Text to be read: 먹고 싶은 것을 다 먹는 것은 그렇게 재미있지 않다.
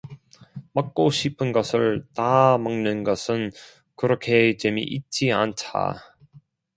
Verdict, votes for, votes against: rejected, 1, 2